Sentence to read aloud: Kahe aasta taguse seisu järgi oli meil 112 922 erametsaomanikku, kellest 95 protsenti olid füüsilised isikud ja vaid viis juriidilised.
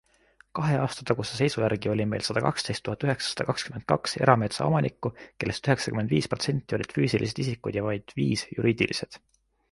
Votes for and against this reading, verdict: 0, 2, rejected